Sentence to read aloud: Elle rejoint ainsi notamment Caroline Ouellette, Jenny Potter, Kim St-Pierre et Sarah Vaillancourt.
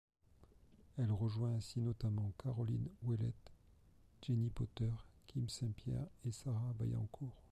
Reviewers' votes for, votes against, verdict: 0, 2, rejected